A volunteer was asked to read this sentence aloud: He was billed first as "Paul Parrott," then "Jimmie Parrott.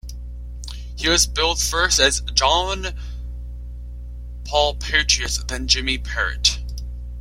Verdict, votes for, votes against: rejected, 0, 2